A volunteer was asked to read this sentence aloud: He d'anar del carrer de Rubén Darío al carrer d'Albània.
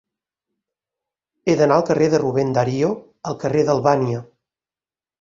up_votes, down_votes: 0, 4